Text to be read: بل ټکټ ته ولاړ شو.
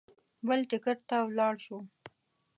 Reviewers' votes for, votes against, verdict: 2, 0, accepted